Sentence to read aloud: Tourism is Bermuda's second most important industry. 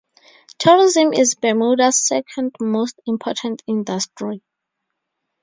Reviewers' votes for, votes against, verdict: 4, 0, accepted